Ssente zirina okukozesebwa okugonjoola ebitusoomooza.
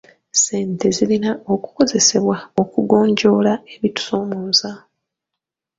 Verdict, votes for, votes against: rejected, 1, 2